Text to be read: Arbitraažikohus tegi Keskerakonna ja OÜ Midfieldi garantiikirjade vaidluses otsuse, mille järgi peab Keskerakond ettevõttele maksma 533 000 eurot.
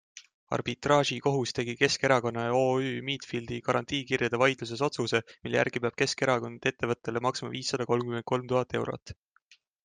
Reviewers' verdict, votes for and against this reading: rejected, 0, 2